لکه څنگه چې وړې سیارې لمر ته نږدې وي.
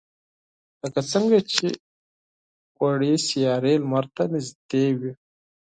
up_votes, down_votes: 4, 0